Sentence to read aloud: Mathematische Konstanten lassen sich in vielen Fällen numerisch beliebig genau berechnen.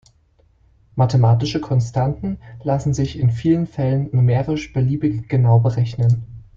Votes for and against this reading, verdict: 2, 0, accepted